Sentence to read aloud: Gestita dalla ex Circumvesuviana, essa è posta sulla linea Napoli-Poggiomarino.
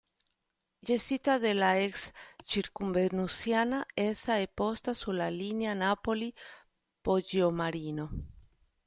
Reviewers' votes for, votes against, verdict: 1, 2, rejected